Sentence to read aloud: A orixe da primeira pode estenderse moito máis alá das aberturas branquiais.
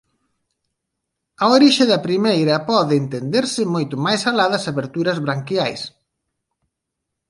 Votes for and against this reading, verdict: 1, 2, rejected